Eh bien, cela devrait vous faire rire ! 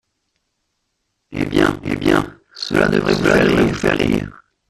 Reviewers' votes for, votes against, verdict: 1, 2, rejected